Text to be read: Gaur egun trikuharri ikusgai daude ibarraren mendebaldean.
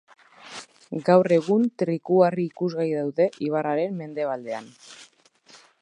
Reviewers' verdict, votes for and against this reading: accepted, 2, 0